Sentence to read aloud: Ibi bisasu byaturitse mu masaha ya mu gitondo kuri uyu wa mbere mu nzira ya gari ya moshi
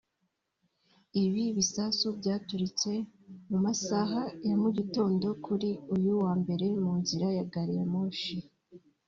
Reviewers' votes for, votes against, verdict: 0, 2, rejected